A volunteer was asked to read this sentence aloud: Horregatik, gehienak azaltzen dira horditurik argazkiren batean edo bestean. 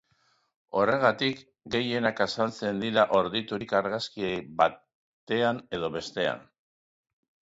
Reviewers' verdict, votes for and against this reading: accepted, 2, 0